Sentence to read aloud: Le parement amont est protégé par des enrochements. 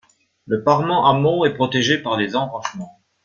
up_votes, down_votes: 2, 0